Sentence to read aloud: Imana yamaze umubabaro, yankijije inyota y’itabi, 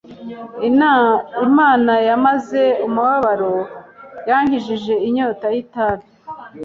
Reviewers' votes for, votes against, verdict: 0, 2, rejected